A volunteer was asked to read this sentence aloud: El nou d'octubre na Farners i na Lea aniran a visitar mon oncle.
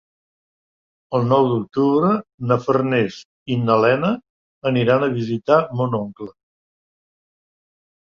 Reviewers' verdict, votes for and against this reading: rejected, 0, 2